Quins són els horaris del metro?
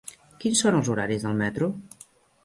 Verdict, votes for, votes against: rejected, 1, 2